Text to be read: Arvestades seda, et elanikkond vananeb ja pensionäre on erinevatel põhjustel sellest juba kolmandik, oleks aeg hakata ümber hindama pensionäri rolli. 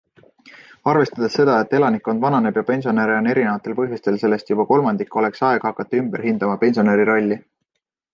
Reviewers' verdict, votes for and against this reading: accepted, 2, 0